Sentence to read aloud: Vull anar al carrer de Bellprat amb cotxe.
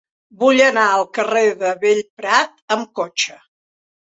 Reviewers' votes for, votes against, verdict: 4, 0, accepted